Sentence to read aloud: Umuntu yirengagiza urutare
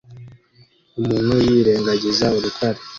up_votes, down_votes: 2, 0